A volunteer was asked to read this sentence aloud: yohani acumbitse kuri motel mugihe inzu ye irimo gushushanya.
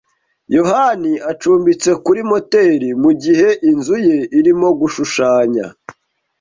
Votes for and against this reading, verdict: 2, 0, accepted